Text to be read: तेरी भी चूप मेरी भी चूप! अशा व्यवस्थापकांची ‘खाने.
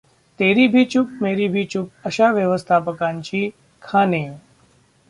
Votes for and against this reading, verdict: 0, 2, rejected